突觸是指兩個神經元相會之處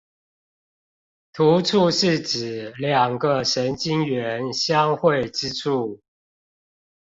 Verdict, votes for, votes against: accepted, 2, 0